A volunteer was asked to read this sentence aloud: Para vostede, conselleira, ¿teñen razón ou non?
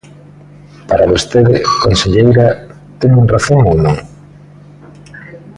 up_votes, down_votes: 1, 2